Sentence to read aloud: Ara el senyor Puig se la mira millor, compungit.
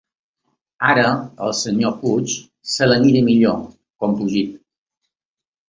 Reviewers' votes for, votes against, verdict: 2, 0, accepted